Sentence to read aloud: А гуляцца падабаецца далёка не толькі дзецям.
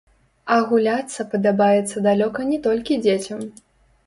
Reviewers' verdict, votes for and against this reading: rejected, 0, 2